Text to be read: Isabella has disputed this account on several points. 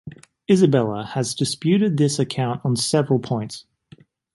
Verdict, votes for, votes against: accepted, 2, 0